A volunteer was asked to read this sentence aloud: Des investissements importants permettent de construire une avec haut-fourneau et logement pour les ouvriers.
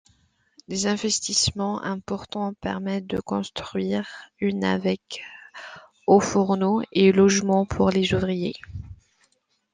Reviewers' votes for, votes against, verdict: 2, 0, accepted